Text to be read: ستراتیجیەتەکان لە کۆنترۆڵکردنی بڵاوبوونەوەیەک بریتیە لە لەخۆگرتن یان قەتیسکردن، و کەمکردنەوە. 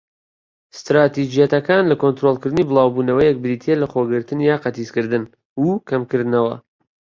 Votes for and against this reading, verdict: 2, 1, accepted